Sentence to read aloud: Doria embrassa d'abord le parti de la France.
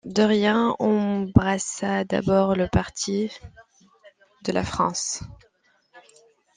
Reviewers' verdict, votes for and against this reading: accepted, 2, 0